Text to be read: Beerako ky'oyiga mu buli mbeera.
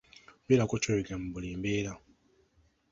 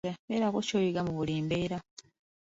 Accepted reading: first